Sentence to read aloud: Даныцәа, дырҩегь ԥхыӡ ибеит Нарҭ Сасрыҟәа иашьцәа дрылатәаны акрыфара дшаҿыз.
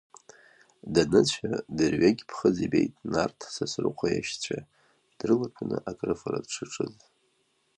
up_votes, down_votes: 1, 2